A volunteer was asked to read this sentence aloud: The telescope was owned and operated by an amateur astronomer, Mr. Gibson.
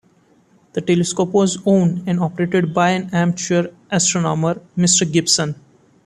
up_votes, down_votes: 2, 1